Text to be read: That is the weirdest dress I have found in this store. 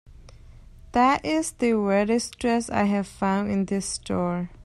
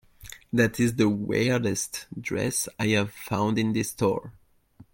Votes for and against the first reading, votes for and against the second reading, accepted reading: 2, 0, 1, 2, first